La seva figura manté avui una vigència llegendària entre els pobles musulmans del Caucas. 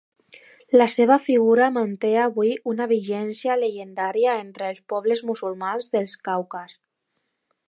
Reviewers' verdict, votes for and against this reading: accepted, 2, 1